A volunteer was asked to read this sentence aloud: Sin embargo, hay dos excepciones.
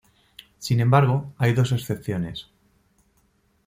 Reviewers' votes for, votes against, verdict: 2, 0, accepted